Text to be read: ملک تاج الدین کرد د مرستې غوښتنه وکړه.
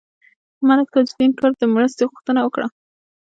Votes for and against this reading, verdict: 1, 2, rejected